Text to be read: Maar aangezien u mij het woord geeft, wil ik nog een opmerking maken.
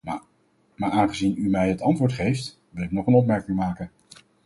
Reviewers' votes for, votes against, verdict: 2, 2, rejected